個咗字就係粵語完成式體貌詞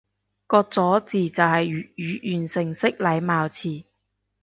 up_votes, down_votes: 0, 2